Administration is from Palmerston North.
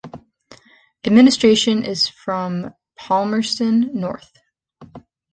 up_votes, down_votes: 2, 0